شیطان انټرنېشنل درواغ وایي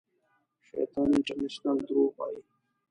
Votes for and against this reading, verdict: 0, 2, rejected